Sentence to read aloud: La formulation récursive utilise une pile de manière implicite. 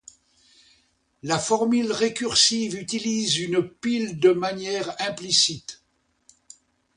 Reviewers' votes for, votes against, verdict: 0, 2, rejected